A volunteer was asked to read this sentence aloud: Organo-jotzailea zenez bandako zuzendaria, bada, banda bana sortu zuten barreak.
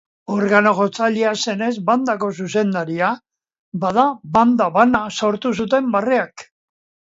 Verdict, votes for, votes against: accepted, 2, 0